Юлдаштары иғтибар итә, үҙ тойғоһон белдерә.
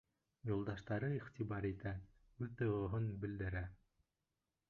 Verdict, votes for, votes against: rejected, 1, 2